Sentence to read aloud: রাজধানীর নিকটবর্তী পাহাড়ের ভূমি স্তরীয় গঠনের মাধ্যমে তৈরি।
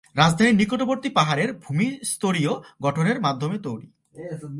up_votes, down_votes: 2, 1